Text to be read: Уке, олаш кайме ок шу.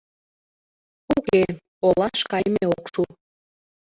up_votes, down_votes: 2, 1